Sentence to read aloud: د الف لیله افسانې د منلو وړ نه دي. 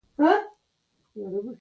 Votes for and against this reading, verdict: 2, 1, accepted